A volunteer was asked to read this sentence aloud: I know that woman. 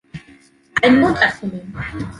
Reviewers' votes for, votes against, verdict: 2, 0, accepted